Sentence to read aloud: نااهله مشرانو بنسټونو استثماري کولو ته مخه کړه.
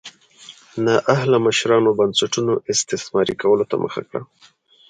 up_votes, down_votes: 2, 0